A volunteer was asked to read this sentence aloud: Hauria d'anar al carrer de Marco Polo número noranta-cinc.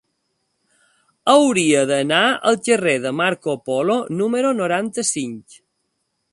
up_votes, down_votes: 5, 0